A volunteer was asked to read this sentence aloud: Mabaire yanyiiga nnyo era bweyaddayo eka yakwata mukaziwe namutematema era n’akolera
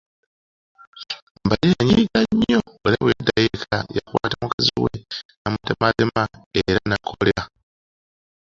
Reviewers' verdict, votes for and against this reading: accepted, 2, 0